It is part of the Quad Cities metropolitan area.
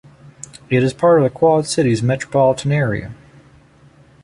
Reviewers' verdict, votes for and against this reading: accepted, 2, 0